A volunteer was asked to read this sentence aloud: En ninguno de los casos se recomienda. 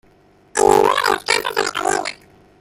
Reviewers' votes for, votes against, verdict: 0, 2, rejected